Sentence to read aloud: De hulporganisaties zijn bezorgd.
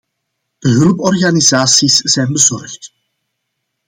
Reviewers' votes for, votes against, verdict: 2, 0, accepted